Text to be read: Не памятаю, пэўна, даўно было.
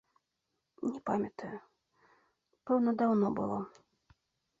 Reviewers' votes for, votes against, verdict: 2, 0, accepted